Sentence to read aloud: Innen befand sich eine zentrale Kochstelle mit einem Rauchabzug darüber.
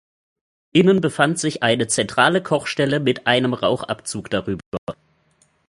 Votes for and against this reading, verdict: 0, 2, rejected